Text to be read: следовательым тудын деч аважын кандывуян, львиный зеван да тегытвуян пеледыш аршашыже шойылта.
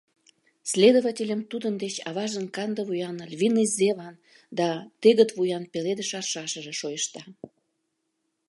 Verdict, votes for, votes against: rejected, 0, 2